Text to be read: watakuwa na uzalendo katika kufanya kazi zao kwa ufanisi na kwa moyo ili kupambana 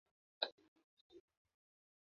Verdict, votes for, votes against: rejected, 0, 2